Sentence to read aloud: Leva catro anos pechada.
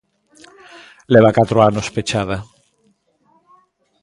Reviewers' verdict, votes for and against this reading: rejected, 1, 2